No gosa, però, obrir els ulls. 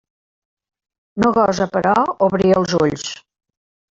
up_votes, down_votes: 3, 0